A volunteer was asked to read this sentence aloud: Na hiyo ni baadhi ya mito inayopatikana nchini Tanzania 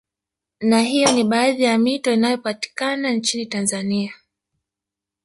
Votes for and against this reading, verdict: 2, 0, accepted